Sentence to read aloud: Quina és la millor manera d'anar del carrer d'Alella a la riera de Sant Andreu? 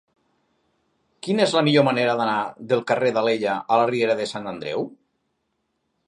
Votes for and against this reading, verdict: 3, 0, accepted